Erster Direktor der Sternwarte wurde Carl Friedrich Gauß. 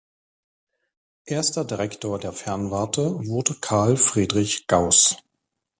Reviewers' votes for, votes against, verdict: 0, 3, rejected